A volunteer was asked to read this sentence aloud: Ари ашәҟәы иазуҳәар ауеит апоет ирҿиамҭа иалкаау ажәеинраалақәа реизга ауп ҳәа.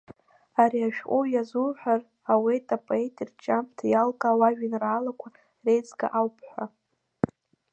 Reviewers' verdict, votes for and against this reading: rejected, 1, 2